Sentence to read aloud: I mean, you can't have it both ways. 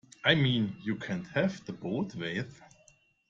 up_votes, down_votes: 2, 0